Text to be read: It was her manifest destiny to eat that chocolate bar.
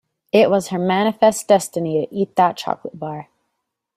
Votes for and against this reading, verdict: 3, 0, accepted